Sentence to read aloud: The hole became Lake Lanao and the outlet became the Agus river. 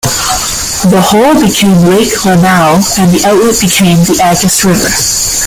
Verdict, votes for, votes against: accepted, 2, 1